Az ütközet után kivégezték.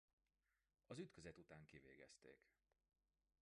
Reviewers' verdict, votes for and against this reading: accepted, 2, 1